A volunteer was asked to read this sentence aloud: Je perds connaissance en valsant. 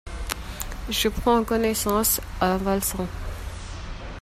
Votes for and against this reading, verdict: 0, 2, rejected